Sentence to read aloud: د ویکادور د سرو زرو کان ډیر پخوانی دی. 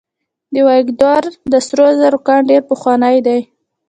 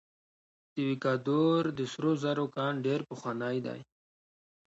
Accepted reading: second